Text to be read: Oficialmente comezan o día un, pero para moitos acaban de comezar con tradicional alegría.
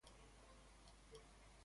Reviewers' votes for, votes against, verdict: 0, 2, rejected